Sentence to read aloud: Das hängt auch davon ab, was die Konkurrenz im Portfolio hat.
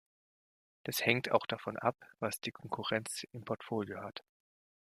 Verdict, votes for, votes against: accepted, 2, 1